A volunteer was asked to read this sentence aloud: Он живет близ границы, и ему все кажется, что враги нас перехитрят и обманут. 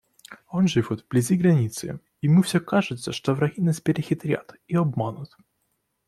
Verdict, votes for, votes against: accepted, 2, 1